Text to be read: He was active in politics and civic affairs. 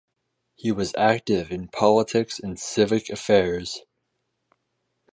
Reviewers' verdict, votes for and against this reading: rejected, 2, 2